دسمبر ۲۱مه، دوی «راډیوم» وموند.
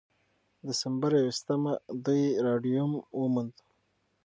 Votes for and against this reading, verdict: 0, 2, rejected